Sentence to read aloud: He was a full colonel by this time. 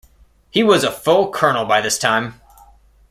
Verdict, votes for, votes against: accepted, 2, 0